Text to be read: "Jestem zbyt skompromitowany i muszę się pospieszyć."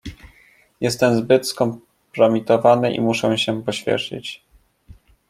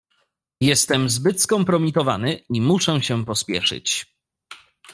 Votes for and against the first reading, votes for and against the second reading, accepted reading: 0, 2, 2, 0, second